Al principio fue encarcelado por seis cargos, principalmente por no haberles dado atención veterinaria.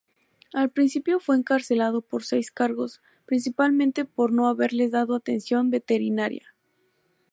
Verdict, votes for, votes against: rejected, 2, 2